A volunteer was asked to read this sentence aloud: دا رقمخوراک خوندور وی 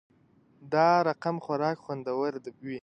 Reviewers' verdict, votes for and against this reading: rejected, 1, 2